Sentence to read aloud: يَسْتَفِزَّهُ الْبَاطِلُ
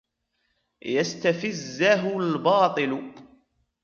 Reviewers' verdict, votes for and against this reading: rejected, 1, 2